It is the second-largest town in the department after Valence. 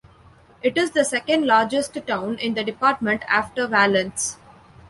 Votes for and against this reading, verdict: 2, 1, accepted